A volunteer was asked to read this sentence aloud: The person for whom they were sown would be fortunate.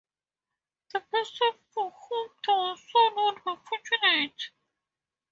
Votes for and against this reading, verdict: 0, 2, rejected